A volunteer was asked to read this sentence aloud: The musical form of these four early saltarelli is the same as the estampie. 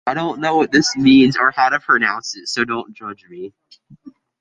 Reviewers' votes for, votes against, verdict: 2, 1, accepted